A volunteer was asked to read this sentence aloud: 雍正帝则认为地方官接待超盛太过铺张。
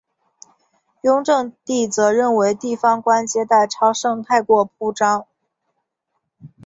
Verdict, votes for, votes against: accepted, 3, 0